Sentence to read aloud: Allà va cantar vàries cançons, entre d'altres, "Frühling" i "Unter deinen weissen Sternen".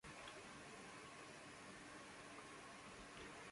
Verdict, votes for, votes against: rejected, 0, 2